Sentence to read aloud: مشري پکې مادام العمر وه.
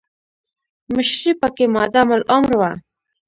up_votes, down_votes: 0, 2